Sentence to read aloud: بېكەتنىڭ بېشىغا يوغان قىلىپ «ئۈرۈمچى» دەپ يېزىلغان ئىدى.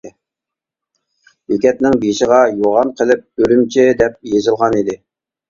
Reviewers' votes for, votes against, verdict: 2, 0, accepted